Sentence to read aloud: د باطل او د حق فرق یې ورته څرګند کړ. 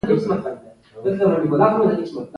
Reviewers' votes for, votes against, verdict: 0, 2, rejected